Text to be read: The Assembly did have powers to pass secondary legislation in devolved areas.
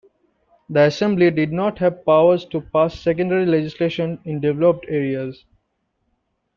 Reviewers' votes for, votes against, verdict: 0, 2, rejected